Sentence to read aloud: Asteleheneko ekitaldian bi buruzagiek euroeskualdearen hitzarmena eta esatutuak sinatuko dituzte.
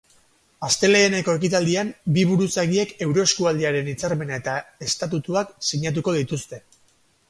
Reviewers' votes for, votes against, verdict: 4, 0, accepted